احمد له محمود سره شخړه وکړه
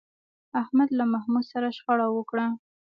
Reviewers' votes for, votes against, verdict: 0, 2, rejected